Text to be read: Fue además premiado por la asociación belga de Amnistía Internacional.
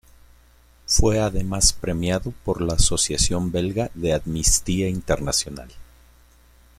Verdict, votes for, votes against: accepted, 2, 0